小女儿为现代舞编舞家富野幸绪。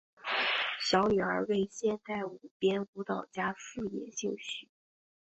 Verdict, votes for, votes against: accepted, 6, 0